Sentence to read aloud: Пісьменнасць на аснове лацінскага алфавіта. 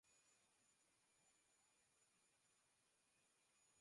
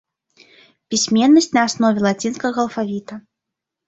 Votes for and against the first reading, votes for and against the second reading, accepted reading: 0, 2, 2, 0, second